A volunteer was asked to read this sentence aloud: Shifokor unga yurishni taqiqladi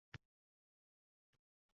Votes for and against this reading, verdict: 0, 2, rejected